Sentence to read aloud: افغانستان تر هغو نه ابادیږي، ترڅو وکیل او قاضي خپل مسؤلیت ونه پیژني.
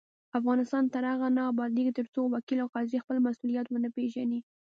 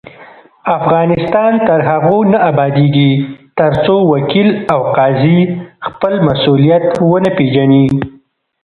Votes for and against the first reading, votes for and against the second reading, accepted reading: 2, 0, 0, 2, first